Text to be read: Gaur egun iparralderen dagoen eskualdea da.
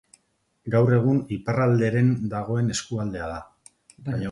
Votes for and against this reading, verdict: 2, 2, rejected